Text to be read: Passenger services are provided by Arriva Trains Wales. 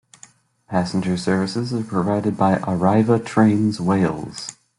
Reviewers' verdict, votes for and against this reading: accepted, 2, 0